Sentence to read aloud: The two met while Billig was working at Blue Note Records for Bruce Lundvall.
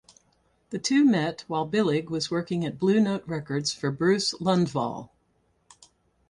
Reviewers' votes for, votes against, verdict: 2, 2, rejected